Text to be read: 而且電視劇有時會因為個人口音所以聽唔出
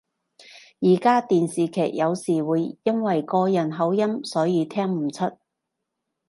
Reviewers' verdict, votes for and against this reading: rejected, 0, 2